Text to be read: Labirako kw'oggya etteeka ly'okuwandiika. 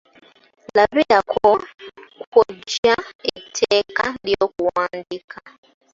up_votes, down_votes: 0, 2